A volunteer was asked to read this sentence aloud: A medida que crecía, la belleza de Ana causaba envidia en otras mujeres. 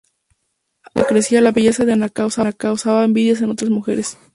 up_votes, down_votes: 0, 2